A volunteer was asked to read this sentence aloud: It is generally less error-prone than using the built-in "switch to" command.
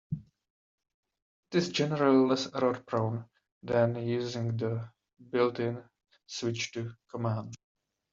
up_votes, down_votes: 1, 2